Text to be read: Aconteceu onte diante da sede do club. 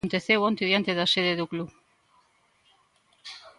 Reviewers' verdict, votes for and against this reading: rejected, 1, 2